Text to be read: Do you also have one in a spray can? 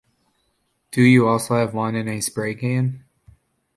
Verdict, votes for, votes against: accepted, 2, 1